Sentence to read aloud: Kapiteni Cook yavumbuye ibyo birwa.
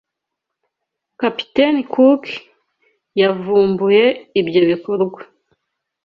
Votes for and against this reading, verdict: 0, 2, rejected